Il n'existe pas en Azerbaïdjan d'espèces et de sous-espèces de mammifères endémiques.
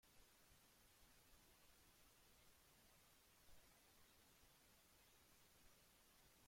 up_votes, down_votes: 0, 2